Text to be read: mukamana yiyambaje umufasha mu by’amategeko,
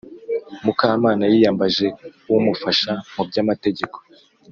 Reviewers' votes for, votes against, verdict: 3, 0, accepted